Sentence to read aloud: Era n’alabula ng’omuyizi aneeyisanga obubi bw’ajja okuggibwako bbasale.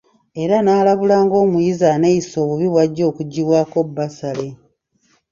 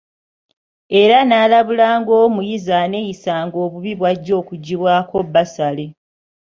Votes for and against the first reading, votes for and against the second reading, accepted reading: 1, 2, 2, 0, second